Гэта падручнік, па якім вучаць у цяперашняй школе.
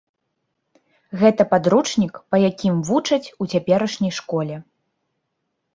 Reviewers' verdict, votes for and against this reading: accepted, 2, 0